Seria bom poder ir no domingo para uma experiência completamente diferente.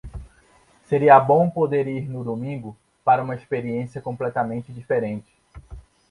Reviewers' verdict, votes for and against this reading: accepted, 2, 0